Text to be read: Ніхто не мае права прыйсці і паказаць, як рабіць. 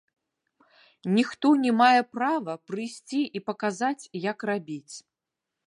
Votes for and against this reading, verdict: 2, 0, accepted